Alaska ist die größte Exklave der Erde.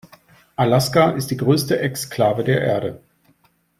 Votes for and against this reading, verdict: 2, 0, accepted